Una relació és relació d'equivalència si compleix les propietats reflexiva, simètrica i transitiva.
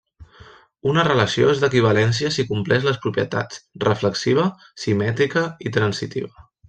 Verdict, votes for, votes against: rejected, 0, 2